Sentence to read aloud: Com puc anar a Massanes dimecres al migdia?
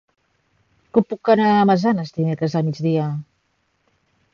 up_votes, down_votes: 2, 3